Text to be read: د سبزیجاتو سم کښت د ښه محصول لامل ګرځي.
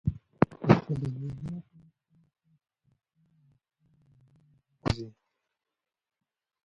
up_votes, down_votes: 0, 2